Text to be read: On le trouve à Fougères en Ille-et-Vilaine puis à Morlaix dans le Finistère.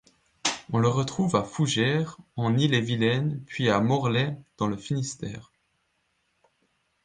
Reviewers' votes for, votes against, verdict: 1, 2, rejected